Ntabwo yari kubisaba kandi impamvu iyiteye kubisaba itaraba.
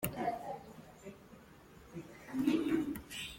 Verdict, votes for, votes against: rejected, 1, 2